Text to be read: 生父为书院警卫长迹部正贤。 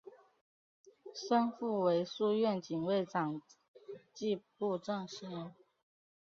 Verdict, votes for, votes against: rejected, 1, 2